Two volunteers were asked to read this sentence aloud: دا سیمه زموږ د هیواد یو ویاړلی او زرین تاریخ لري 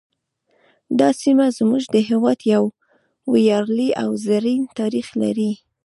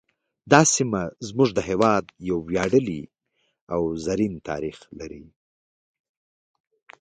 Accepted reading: second